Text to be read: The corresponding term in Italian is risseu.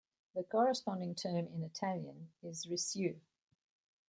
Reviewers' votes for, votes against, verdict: 1, 2, rejected